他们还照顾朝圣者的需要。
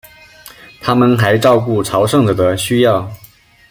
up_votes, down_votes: 2, 0